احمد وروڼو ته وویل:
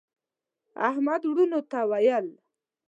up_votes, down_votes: 0, 2